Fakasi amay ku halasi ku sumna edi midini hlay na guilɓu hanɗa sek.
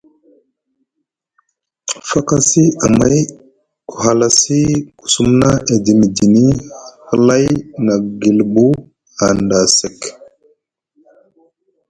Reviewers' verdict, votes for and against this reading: accepted, 2, 0